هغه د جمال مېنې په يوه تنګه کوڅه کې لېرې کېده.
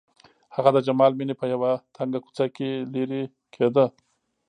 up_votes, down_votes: 2, 0